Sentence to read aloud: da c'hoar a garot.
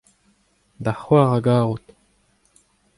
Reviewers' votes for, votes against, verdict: 2, 0, accepted